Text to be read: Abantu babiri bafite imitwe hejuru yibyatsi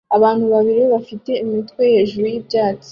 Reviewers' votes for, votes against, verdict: 2, 0, accepted